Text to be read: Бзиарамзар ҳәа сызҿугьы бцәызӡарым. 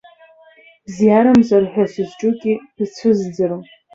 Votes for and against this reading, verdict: 0, 2, rejected